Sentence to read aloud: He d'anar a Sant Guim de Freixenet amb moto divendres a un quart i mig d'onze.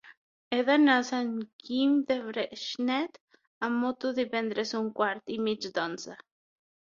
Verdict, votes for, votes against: rejected, 0, 6